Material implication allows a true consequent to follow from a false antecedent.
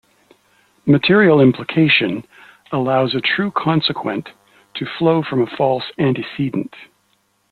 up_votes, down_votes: 2, 0